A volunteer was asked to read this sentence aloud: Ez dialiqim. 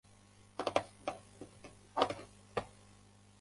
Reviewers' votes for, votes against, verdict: 0, 2, rejected